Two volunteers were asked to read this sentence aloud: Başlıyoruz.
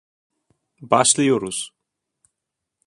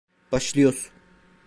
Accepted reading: first